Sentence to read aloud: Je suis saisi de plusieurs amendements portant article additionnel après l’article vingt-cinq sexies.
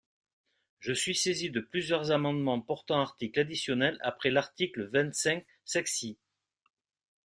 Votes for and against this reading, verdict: 2, 0, accepted